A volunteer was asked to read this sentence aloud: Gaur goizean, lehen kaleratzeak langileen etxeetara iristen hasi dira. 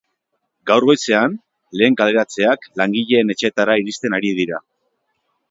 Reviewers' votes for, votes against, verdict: 2, 2, rejected